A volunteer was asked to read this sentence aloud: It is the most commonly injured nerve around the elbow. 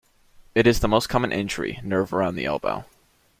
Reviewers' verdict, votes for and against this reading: rejected, 0, 2